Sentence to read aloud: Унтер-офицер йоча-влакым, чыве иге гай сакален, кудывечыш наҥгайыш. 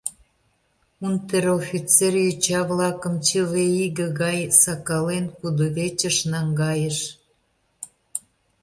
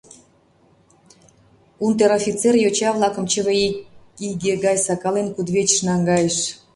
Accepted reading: first